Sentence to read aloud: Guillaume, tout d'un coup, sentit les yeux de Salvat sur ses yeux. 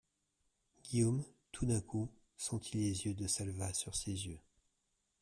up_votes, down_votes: 2, 0